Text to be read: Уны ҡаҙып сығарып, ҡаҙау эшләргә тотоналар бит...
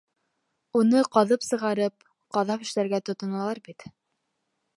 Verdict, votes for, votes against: rejected, 0, 2